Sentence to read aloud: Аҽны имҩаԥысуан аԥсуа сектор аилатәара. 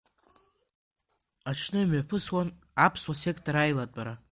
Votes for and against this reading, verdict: 0, 2, rejected